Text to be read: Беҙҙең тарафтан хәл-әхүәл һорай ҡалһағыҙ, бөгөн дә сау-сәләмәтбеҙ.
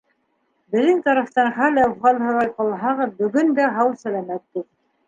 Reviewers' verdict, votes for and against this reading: accepted, 4, 2